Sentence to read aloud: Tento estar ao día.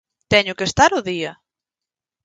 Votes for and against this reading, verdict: 2, 4, rejected